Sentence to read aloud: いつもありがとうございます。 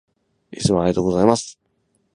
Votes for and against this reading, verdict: 6, 0, accepted